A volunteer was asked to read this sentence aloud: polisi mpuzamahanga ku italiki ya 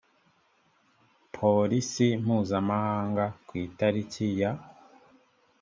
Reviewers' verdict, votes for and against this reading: accepted, 3, 0